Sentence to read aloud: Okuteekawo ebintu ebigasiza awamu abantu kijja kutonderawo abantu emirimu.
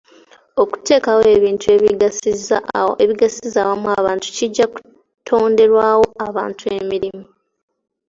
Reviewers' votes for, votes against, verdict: 2, 0, accepted